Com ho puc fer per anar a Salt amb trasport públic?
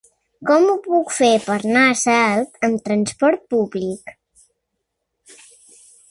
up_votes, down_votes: 1, 2